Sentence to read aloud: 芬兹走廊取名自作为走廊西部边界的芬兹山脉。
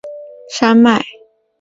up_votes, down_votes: 0, 2